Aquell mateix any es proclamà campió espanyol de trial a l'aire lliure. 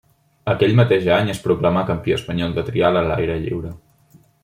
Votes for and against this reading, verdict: 2, 0, accepted